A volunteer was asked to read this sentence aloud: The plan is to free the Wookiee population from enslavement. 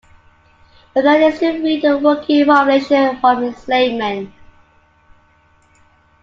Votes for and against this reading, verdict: 0, 2, rejected